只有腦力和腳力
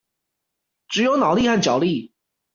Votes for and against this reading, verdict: 2, 1, accepted